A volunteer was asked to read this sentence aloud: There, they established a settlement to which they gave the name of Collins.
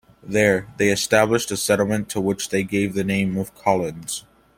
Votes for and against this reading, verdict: 2, 0, accepted